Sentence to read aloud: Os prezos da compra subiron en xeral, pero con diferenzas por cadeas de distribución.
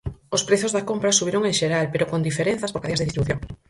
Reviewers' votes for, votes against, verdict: 0, 4, rejected